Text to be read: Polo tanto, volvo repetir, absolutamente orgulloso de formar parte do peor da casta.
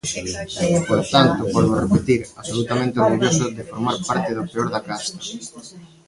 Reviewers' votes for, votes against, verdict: 0, 3, rejected